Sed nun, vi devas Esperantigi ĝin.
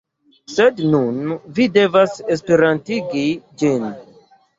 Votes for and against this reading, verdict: 2, 1, accepted